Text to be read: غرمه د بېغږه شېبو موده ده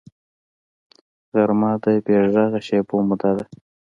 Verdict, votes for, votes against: accepted, 2, 0